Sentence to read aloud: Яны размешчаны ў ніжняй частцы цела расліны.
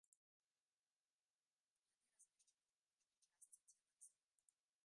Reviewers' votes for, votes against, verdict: 0, 2, rejected